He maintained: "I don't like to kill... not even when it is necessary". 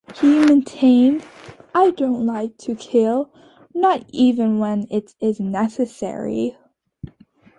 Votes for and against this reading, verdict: 2, 0, accepted